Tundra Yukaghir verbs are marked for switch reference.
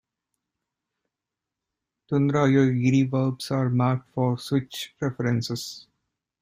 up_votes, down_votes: 1, 2